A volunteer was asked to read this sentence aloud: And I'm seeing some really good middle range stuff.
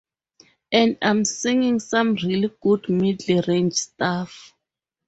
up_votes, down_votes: 0, 2